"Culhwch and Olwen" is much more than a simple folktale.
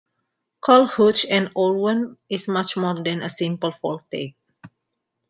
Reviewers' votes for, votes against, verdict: 0, 2, rejected